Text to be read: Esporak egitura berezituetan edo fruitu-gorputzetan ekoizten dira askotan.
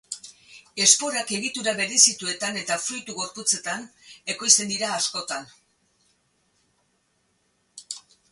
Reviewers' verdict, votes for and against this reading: rejected, 2, 2